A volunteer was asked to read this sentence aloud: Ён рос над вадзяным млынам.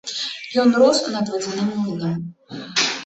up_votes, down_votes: 2, 0